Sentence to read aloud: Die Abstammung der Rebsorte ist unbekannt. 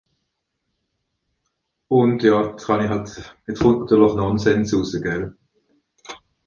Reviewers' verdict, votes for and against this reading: rejected, 0, 2